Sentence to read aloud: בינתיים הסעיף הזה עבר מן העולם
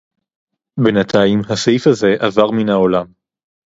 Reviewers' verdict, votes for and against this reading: rejected, 0, 2